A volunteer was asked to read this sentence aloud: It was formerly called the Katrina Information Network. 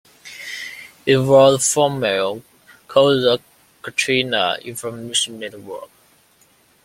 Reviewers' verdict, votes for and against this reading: rejected, 1, 2